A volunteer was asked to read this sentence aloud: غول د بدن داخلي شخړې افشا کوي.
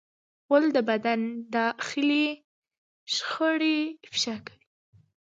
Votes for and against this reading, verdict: 1, 2, rejected